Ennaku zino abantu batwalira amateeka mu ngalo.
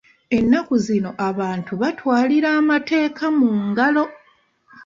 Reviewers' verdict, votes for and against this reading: accepted, 2, 0